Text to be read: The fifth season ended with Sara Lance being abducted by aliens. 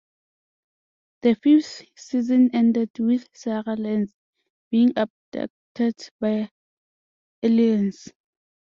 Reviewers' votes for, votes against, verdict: 2, 0, accepted